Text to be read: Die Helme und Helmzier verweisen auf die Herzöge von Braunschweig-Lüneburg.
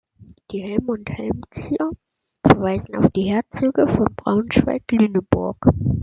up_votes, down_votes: 2, 0